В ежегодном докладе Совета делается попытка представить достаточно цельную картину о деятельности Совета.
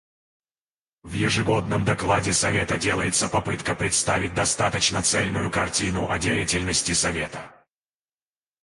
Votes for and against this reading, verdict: 2, 4, rejected